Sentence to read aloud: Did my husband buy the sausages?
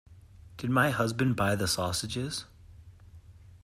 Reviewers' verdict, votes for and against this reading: accepted, 2, 0